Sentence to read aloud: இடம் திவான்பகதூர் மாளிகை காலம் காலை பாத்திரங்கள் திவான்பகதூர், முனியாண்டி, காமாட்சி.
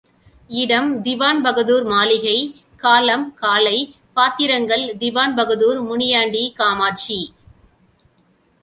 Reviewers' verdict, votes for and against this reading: accepted, 2, 0